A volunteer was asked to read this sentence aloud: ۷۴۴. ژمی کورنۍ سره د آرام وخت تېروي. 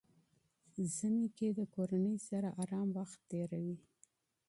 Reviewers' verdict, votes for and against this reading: rejected, 0, 2